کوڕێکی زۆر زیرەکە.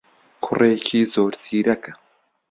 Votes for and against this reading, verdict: 2, 0, accepted